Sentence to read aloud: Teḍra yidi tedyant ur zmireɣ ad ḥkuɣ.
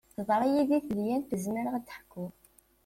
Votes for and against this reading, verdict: 2, 0, accepted